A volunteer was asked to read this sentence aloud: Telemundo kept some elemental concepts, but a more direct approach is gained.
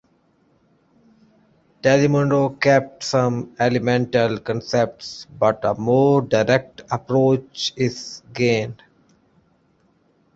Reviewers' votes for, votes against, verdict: 1, 2, rejected